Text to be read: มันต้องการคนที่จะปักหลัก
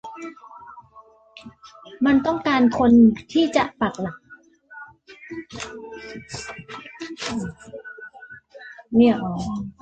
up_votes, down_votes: 1, 2